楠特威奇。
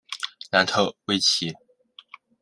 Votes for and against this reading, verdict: 2, 0, accepted